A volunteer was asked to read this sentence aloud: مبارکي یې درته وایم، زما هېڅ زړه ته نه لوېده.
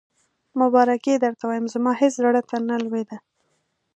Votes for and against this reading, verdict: 2, 0, accepted